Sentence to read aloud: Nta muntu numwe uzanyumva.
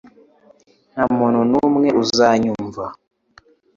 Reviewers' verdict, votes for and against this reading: accepted, 2, 0